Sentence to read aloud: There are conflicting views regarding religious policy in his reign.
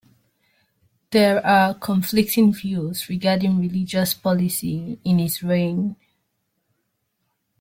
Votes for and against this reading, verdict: 0, 2, rejected